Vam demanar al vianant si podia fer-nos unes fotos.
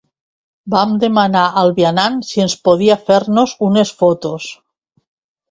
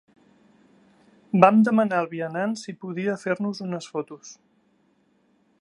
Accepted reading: second